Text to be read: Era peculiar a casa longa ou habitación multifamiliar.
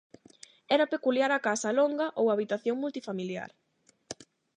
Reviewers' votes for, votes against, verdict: 8, 0, accepted